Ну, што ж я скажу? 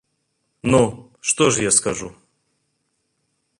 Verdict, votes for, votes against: accepted, 2, 0